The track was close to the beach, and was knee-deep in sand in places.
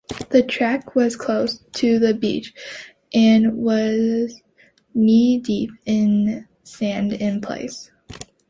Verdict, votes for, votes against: rejected, 1, 2